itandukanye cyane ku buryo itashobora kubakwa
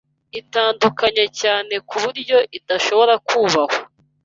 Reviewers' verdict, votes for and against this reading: rejected, 1, 2